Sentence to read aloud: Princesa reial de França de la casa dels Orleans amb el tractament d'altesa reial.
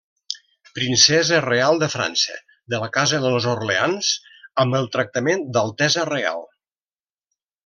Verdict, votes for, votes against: rejected, 0, 2